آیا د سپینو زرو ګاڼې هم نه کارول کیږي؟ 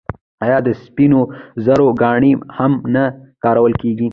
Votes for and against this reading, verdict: 1, 2, rejected